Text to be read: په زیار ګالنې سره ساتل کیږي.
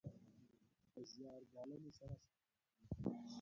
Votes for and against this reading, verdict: 0, 2, rejected